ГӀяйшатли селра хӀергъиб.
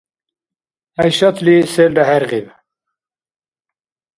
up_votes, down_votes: 2, 0